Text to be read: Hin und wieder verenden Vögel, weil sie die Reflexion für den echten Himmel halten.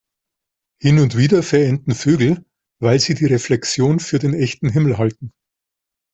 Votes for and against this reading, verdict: 2, 0, accepted